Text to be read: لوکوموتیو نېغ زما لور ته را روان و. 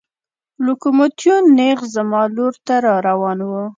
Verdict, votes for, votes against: accepted, 2, 1